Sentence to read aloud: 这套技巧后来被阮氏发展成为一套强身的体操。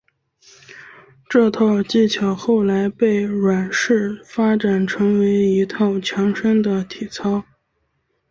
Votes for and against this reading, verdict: 4, 2, accepted